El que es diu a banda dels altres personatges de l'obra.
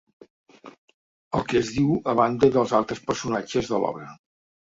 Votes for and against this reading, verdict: 1, 2, rejected